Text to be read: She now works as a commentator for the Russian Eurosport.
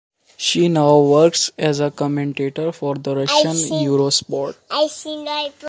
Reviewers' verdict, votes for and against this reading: rejected, 1, 2